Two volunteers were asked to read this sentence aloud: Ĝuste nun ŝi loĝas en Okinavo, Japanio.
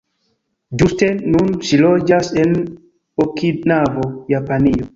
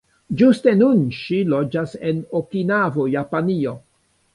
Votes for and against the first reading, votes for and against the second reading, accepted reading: 1, 2, 2, 1, second